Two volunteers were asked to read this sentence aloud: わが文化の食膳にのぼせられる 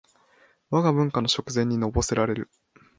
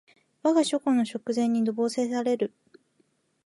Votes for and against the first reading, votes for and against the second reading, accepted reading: 16, 0, 0, 2, first